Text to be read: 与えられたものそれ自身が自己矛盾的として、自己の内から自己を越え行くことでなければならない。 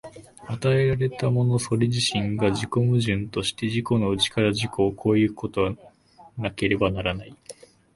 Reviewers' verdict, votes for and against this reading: rejected, 1, 2